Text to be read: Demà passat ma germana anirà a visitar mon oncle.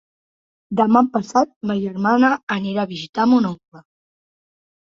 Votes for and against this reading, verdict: 3, 0, accepted